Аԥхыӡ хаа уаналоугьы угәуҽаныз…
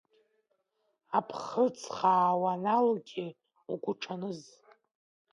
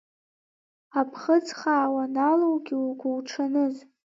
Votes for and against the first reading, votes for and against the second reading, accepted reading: 0, 2, 3, 0, second